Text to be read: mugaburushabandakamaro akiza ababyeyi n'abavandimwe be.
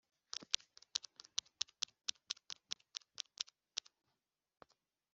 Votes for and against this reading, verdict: 0, 2, rejected